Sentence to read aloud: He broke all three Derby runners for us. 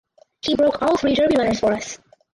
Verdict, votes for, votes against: rejected, 2, 4